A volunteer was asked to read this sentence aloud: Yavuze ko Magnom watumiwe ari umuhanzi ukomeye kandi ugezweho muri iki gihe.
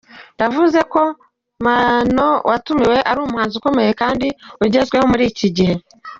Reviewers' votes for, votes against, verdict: 0, 2, rejected